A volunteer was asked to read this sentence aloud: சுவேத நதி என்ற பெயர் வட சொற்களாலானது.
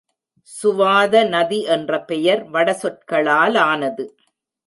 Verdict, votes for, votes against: rejected, 1, 2